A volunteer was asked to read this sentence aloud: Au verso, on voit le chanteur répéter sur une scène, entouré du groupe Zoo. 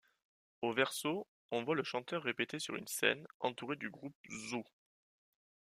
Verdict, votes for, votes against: accepted, 2, 1